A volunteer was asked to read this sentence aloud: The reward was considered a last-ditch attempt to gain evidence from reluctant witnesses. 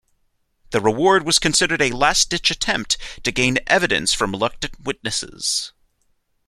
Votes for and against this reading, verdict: 0, 2, rejected